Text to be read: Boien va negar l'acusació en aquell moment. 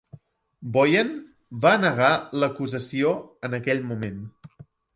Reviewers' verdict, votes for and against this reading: rejected, 1, 2